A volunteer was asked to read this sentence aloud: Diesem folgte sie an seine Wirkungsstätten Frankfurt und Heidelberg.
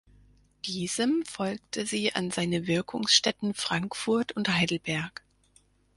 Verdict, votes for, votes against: accepted, 4, 2